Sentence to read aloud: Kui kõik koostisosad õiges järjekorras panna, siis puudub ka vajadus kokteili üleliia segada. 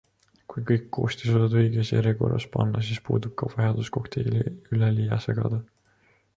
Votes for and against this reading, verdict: 2, 0, accepted